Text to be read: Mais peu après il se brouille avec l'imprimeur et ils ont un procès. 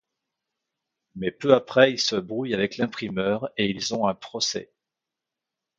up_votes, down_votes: 2, 0